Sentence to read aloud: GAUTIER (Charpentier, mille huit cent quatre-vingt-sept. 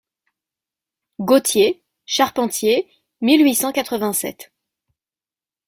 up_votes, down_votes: 2, 0